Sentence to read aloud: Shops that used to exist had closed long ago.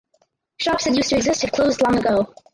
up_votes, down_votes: 0, 4